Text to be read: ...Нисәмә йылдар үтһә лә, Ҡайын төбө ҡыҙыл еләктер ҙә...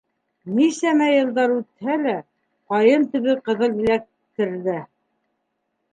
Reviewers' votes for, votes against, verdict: 1, 2, rejected